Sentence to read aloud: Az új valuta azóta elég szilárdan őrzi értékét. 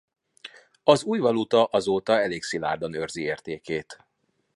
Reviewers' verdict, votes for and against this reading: accepted, 2, 0